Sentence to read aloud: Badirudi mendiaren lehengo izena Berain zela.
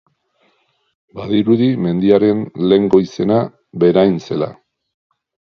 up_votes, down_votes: 2, 0